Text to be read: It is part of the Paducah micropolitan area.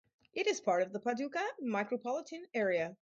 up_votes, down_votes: 4, 0